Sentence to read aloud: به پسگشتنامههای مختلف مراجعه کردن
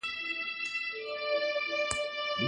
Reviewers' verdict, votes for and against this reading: rejected, 0, 2